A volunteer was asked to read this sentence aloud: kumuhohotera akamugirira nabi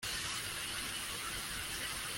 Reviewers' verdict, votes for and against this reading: rejected, 0, 2